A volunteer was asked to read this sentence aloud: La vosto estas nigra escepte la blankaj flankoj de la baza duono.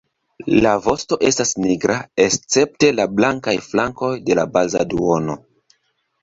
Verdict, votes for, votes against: accepted, 2, 0